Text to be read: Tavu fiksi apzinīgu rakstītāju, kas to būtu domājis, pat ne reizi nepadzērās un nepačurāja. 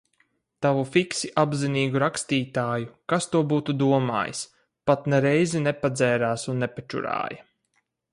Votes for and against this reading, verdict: 4, 0, accepted